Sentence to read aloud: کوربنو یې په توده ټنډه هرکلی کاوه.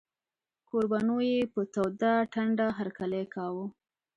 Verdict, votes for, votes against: accepted, 2, 0